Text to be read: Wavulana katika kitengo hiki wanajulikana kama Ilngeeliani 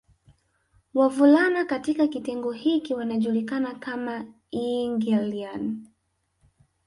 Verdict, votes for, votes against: rejected, 0, 2